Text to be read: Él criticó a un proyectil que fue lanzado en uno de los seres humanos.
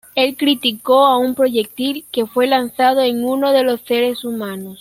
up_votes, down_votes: 2, 0